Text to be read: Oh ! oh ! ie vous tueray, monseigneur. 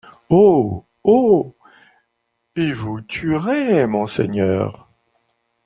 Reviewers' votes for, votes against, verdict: 0, 2, rejected